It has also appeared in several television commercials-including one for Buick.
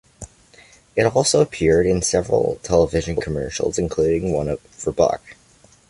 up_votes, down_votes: 2, 0